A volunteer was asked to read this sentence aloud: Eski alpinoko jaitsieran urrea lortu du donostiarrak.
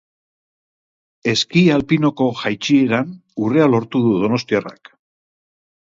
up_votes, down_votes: 4, 0